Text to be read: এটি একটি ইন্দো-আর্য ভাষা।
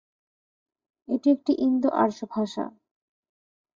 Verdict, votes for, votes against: accepted, 2, 0